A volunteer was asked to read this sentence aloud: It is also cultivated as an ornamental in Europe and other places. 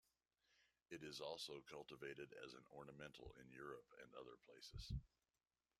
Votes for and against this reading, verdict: 1, 2, rejected